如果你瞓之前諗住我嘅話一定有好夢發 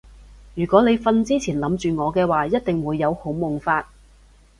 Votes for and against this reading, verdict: 1, 3, rejected